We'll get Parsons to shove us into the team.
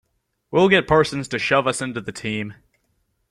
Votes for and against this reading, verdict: 2, 0, accepted